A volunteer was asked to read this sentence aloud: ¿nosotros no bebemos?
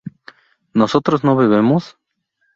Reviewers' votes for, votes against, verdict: 2, 0, accepted